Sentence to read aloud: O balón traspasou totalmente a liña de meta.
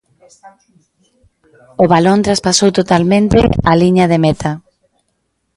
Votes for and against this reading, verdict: 1, 2, rejected